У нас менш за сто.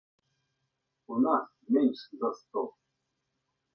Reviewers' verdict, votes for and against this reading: accepted, 2, 0